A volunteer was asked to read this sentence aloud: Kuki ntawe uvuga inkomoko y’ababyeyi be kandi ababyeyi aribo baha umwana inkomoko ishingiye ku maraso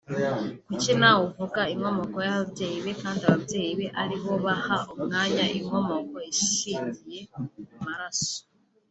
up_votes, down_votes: 1, 2